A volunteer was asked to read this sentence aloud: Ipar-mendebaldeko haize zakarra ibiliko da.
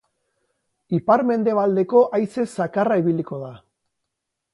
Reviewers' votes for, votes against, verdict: 6, 0, accepted